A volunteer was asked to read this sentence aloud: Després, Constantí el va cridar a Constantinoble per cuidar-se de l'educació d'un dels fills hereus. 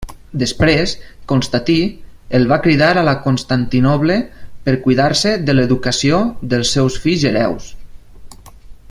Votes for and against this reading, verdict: 1, 2, rejected